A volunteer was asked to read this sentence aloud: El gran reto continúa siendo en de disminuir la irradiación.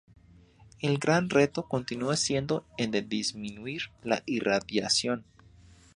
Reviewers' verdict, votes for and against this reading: accepted, 2, 0